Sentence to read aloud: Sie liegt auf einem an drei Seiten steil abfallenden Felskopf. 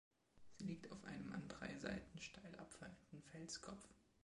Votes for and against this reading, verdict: 3, 2, accepted